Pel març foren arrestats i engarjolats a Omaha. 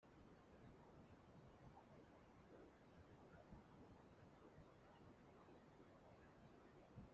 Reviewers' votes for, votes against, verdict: 0, 2, rejected